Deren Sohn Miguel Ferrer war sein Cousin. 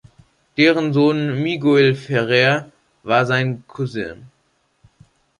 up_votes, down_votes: 2, 3